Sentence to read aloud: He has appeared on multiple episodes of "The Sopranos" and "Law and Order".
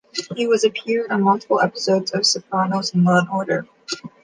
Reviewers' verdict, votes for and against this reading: rejected, 0, 2